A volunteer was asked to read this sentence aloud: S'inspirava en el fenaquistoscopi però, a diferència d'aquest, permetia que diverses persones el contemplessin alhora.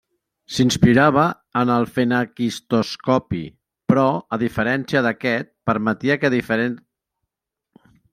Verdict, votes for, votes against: rejected, 0, 2